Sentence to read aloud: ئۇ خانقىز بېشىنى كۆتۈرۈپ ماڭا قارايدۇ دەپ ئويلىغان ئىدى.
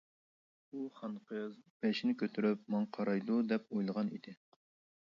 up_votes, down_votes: 2, 1